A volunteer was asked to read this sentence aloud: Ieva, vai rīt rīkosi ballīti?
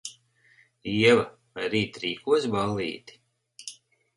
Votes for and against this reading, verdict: 4, 0, accepted